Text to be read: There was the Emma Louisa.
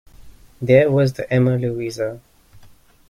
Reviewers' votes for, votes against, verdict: 2, 0, accepted